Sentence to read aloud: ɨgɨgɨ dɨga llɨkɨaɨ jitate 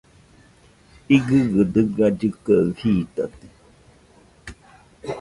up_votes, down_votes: 0, 2